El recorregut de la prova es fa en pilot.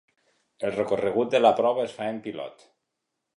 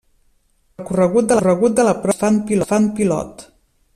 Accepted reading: first